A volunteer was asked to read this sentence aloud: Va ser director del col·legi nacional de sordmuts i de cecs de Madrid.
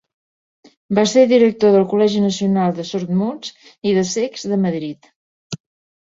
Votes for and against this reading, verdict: 4, 0, accepted